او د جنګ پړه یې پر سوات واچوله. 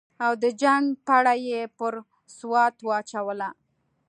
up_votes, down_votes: 2, 0